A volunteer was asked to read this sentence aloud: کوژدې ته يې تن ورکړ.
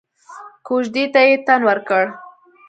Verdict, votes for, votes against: accepted, 3, 0